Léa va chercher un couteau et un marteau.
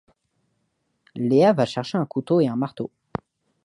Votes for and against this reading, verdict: 2, 0, accepted